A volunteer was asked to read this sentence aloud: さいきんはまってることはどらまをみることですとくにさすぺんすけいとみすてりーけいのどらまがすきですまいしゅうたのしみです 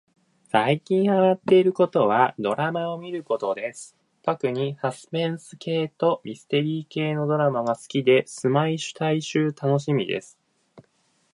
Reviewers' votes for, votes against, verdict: 2, 1, accepted